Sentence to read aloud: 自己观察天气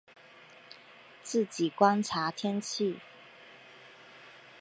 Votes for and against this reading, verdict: 5, 0, accepted